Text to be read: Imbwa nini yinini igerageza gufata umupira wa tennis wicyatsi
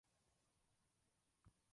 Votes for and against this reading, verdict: 0, 2, rejected